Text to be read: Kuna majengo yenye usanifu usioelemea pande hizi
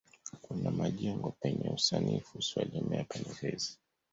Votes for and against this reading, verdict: 0, 2, rejected